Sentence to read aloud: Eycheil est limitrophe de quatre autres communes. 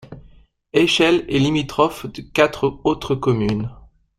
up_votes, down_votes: 2, 1